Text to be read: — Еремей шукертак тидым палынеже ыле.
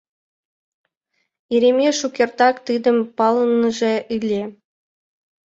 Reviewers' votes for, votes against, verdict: 1, 2, rejected